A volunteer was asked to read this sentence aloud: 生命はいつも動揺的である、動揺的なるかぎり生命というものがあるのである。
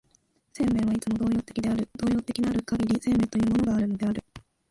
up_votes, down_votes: 0, 2